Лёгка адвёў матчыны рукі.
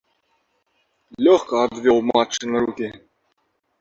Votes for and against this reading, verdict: 2, 0, accepted